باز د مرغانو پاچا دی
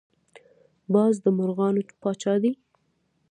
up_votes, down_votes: 2, 1